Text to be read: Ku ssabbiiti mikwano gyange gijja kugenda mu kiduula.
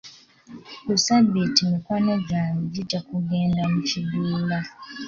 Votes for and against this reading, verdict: 3, 2, accepted